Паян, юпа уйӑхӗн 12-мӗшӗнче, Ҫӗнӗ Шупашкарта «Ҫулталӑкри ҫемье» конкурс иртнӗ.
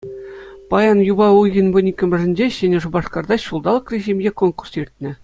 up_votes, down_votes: 0, 2